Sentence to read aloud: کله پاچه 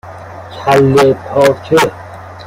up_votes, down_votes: 2, 3